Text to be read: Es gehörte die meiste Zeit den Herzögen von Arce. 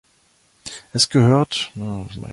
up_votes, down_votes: 0, 2